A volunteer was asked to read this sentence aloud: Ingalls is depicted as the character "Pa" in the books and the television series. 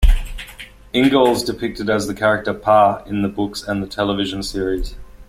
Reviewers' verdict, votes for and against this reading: rejected, 0, 2